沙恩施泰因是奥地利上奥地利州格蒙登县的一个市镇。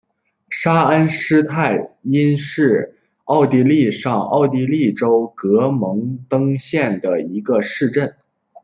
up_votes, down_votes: 1, 2